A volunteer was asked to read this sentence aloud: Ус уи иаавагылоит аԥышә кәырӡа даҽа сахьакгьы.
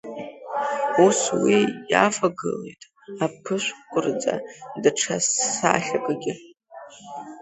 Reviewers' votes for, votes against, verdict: 1, 2, rejected